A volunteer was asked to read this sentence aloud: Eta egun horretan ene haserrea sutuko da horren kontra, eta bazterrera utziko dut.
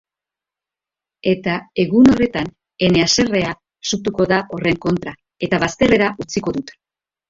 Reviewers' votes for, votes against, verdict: 2, 0, accepted